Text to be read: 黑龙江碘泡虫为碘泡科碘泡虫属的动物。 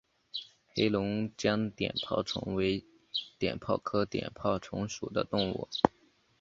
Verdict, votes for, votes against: accepted, 3, 0